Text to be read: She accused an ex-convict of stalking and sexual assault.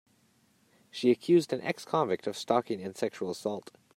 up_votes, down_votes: 3, 1